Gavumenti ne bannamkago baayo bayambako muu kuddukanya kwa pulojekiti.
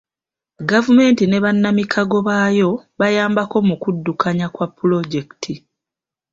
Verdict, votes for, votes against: rejected, 1, 2